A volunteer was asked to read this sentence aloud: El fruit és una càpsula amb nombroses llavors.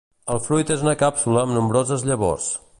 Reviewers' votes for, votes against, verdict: 2, 0, accepted